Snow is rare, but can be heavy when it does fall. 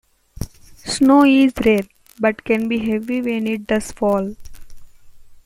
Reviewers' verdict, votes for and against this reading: accepted, 2, 0